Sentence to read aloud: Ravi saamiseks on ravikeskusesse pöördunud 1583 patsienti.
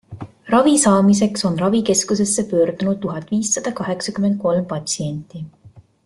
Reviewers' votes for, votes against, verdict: 0, 2, rejected